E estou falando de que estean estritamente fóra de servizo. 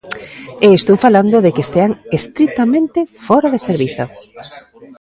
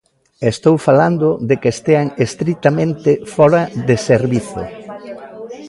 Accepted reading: second